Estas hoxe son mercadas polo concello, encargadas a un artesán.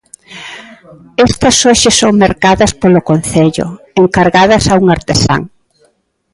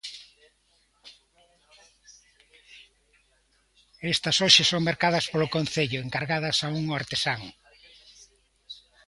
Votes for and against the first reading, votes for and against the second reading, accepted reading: 3, 0, 1, 2, first